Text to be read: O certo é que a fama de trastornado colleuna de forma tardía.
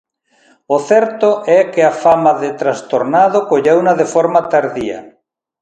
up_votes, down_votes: 2, 0